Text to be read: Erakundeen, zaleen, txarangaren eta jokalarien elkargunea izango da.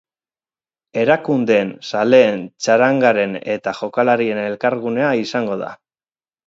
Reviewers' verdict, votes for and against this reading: accepted, 4, 0